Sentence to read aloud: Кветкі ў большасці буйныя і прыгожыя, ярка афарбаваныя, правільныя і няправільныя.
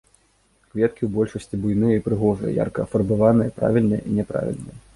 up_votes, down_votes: 2, 1